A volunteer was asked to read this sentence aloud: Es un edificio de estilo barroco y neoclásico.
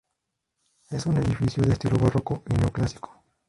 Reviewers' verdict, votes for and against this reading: rejected, 2, 6